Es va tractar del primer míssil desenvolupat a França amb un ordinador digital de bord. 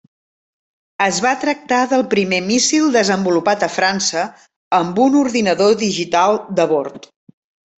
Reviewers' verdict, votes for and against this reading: accepted, 3, 0